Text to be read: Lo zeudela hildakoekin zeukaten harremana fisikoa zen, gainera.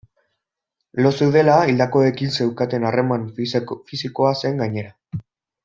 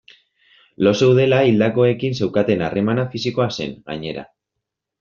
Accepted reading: second